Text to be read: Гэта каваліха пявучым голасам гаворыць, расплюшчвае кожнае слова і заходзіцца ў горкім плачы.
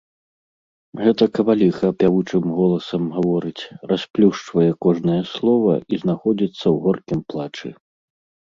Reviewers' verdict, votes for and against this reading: rejected, 1, 2